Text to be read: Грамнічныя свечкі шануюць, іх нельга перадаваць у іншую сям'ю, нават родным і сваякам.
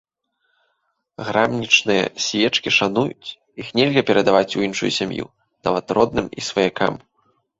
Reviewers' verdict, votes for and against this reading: rejected, 0, 2